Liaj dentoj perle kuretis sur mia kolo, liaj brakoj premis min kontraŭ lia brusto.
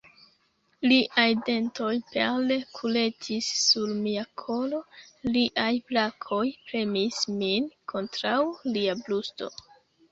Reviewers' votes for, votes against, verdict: 0, 3, rejected